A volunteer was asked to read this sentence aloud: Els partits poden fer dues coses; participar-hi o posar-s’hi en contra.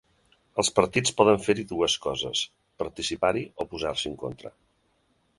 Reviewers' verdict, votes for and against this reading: rejected, 1, 4